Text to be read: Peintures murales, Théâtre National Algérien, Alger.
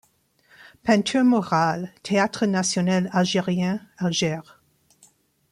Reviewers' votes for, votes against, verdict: 0, 2, rejected